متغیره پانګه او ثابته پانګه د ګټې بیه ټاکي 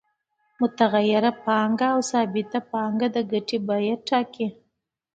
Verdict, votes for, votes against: accepted, 2, 0